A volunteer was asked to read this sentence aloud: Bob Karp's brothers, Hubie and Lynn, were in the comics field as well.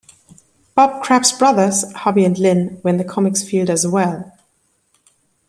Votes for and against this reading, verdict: 0, 2, rejected